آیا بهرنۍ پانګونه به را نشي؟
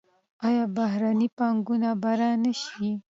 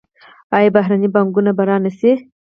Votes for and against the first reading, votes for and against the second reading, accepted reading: 2, 0, 2, 4, first